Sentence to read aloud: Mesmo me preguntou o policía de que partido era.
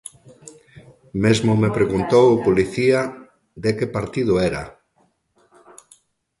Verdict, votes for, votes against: rejected, 0, 2